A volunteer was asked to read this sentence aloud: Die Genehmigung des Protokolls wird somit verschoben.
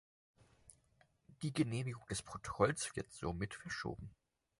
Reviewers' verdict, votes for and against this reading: rejected, 2, 4